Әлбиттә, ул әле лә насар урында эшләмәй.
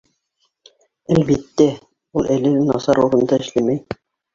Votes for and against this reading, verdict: 2, 1, accepted